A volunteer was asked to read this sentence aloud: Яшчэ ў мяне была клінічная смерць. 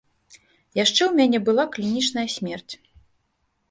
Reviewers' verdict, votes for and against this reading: accepted, 2, 0